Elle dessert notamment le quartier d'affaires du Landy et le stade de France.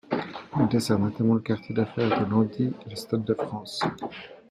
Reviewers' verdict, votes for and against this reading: accepted, 2, 0